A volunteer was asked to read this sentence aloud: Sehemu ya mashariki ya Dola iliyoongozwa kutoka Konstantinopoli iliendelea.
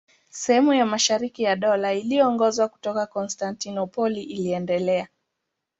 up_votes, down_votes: 2, 0